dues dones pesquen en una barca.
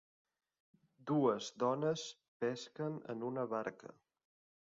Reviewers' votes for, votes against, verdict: 3, 1, accepted